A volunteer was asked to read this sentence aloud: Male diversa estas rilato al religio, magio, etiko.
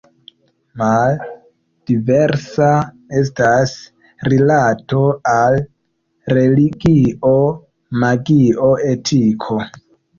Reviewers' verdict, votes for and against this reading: accepted, 2, 0